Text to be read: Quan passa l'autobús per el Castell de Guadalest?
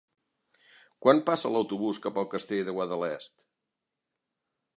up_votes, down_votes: 1, 2